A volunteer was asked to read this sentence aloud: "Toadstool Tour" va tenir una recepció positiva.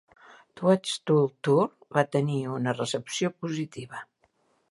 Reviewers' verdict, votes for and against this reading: accepted, 2, 1